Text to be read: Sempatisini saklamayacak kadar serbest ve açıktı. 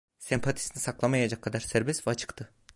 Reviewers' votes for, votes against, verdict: 2, 0, accepted